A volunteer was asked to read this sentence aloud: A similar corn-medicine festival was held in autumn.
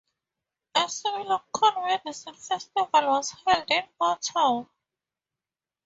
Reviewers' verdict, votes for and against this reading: rejected, 0, 4